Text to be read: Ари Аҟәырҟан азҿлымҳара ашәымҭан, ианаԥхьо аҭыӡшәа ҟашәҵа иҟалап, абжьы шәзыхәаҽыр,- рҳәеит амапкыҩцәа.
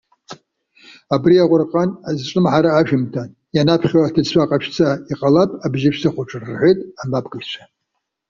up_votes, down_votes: 1, 2